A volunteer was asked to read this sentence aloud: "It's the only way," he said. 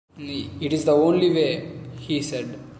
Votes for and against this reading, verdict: 2, 0, accepted